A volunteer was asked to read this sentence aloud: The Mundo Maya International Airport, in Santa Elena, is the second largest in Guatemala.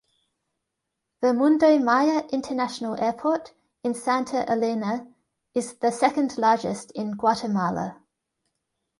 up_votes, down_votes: 2, 0